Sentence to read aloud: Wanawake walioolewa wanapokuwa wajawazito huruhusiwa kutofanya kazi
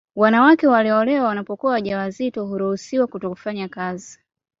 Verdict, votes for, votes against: accepted, 2, 0